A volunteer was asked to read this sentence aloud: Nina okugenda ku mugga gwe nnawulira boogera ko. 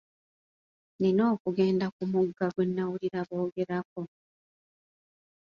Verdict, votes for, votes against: accepted, 2, 0